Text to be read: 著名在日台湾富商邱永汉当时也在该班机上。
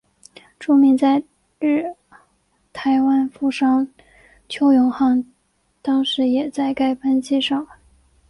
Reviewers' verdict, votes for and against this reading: accepted, 2, 0